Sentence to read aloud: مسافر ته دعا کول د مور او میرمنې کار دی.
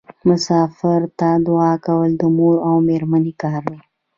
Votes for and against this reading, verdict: 2, 1, accepted